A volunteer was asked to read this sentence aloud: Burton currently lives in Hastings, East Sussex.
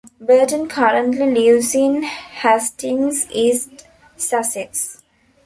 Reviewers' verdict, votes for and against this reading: rejected, 1, 2